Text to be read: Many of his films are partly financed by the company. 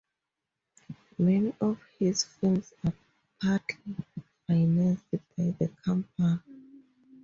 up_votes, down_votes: 0, 4